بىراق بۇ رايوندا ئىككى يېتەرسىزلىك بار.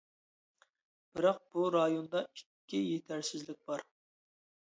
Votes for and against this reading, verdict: 2, 0, accepted